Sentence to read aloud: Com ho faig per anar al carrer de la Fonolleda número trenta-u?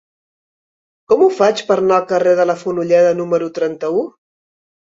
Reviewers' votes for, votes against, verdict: 0, 2, rejected